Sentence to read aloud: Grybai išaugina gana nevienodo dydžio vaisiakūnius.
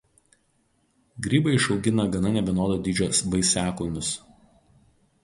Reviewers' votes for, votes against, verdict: 2, 2, rejected